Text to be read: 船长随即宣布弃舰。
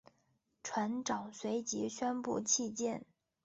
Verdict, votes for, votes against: accepted, 2, 1